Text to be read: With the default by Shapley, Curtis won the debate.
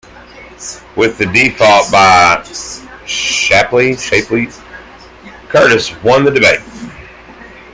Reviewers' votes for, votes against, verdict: 0, 2, rejected